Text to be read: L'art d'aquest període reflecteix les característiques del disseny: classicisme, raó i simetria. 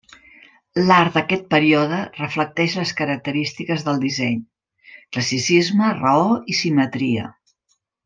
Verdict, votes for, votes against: rejected, 1, 2